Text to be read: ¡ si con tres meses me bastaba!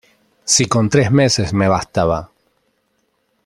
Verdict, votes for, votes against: accepted, 2, 0